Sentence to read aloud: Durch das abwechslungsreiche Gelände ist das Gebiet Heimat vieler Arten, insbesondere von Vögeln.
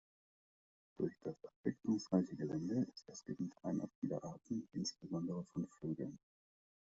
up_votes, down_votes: 1, 2